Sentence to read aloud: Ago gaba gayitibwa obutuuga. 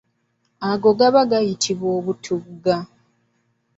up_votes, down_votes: 2, 0